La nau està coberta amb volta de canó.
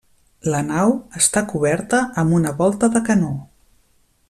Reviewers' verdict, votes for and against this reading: rejected, 0, 2